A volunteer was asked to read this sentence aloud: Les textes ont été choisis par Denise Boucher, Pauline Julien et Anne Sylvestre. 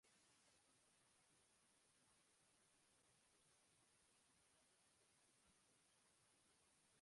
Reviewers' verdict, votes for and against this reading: rejected, 0, 2